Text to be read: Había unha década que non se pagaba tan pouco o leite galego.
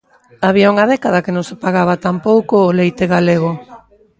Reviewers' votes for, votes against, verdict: 1, 2, rejected